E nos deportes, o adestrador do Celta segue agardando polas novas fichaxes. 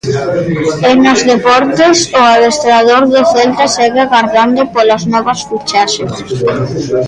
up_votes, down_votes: 1, 2